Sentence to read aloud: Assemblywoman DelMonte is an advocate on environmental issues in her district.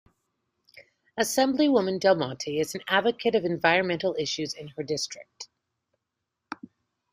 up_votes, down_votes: 0, 2